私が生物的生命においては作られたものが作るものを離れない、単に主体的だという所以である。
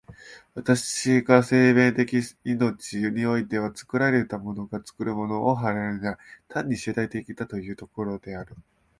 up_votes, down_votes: 0, 3